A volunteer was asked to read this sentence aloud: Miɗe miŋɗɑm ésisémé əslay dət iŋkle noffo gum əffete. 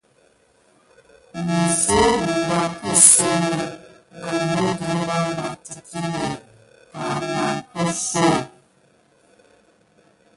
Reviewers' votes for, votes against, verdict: 1, 2, rejected